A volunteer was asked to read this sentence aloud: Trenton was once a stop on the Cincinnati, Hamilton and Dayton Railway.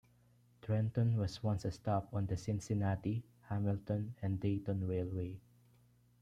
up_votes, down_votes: 2, 0